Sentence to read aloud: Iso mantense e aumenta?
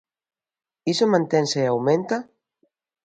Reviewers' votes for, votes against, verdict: 2, 0, accepted